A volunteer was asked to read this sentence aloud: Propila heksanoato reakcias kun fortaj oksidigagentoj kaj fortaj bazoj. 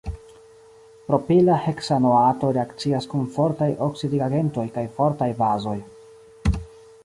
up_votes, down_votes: 2, 1